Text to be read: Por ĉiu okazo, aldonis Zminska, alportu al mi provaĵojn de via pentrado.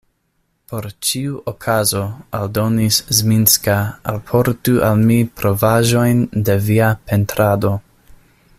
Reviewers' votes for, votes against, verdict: 2, 0, accepted